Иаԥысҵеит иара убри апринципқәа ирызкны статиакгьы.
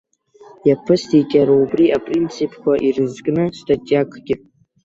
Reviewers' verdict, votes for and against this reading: rejected, 1, 2